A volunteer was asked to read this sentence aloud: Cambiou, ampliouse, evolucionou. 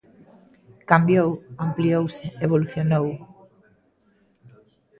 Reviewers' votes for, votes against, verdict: 1, 2, rejected